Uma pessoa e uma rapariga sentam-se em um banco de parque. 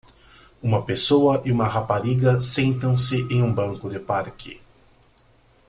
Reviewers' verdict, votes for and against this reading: accepted, 2, 0